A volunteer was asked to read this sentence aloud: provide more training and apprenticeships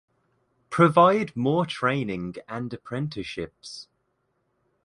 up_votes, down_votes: 1, 2